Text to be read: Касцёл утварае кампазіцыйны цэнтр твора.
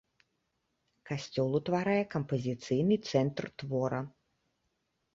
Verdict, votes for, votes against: accepted, 2, 0